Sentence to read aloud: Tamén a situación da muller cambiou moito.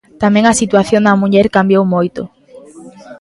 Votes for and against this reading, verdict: 1, 2, rejected